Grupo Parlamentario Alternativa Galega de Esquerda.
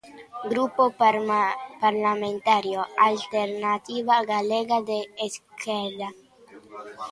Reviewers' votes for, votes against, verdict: 0, 2, rejected